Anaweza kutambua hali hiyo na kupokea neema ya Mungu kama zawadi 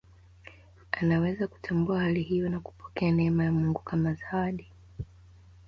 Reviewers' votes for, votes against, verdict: 2, 0, accepted